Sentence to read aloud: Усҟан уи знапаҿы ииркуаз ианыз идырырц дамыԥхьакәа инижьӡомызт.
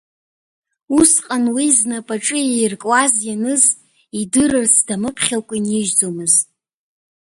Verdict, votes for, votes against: accepted, 2, 0